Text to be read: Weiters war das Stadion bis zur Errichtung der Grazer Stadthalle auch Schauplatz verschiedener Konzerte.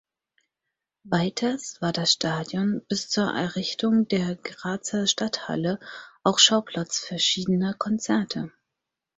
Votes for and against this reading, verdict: 4, 0, accepted